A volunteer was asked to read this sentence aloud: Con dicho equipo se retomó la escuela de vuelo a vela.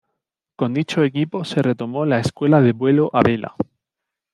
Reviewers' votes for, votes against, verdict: 2, 0, accepted